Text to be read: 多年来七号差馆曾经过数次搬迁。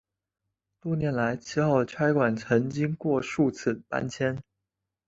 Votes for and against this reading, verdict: 4, 0, accepted